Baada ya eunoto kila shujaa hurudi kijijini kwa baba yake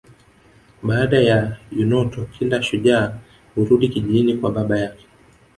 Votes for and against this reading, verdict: 3, 1, accepted